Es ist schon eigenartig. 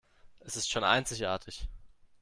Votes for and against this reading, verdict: 0, 2, rejected